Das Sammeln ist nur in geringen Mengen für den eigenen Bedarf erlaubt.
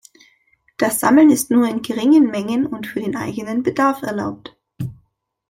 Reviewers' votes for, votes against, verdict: 1, 2, rejected